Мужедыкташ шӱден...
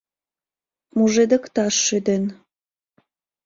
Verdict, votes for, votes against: accepted, 2, 0